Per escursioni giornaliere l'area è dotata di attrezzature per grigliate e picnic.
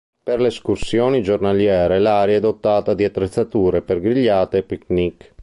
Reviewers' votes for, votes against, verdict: 1, 2, rejected